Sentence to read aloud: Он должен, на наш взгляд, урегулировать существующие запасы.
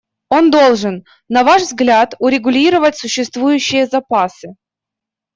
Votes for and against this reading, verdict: 0, 2, rejected